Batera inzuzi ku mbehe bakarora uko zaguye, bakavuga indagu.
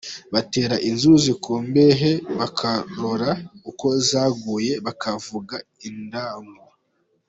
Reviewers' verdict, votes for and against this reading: accepted, 2, 1